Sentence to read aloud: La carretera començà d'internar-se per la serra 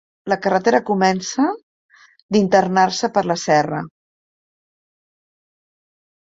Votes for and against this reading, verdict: 0, 2, rejected